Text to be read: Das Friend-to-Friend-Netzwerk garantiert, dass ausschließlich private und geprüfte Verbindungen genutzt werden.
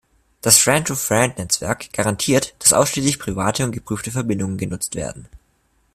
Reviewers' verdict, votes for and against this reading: accepted, 2, 0